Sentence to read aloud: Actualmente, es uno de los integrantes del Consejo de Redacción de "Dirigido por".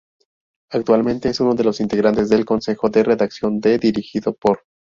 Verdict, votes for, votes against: rejected, 0, 2